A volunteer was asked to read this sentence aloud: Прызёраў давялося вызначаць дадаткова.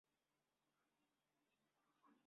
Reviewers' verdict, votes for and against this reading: rejected, 0, 2